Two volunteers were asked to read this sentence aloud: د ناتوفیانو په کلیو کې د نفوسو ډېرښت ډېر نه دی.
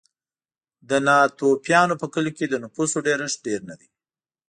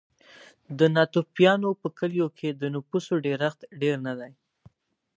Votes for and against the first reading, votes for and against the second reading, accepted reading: 1, 2, 6, 0, second